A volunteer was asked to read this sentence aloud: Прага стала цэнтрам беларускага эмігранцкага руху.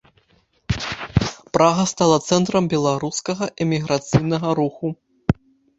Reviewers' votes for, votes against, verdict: 0, 2, rejected